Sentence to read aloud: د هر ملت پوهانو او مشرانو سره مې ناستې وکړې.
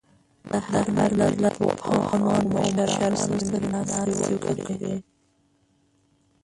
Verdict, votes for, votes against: rejected, 0, 5